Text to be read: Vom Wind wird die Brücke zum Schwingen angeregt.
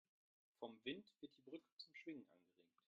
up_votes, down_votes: 1, 2